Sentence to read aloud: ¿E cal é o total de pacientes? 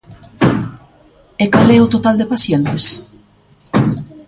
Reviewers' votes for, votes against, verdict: 1, 2, rejected